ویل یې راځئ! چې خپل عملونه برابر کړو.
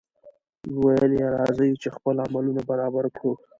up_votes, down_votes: 0, 2